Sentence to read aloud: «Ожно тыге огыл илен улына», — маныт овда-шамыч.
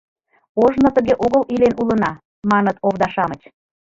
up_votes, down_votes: 2, 0